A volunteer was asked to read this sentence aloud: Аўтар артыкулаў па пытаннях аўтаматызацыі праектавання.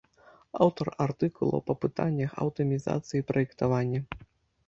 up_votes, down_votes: 0, 2